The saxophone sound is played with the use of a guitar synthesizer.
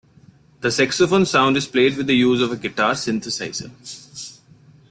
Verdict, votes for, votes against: rejected, 1, 2